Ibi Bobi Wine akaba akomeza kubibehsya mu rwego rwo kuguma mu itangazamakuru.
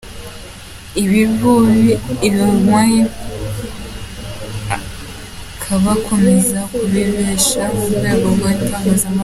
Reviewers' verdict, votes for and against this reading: rejected, 0, 2